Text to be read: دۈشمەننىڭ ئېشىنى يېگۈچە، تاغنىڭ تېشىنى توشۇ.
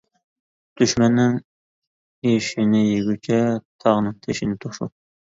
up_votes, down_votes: 2, 0